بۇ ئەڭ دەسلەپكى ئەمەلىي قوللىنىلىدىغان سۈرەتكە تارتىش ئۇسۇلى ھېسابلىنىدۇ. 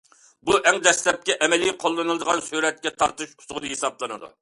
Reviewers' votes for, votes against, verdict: 2, 0, accepted